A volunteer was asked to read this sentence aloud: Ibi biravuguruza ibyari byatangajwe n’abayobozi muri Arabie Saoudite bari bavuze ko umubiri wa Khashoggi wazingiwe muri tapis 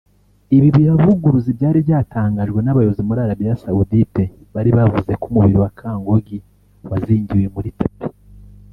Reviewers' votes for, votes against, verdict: 0, 2, rejected